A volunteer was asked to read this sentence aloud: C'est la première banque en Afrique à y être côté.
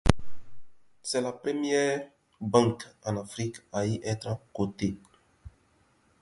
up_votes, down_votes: 0, 2